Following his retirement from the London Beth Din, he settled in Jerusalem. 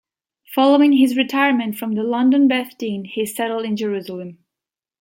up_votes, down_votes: 2, 0